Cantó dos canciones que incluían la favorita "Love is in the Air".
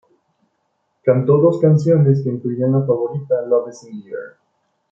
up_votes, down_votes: 2, 1